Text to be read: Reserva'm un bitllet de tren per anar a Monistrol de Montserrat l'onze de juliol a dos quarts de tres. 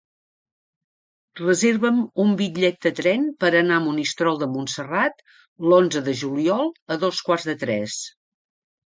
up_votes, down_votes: 2, 0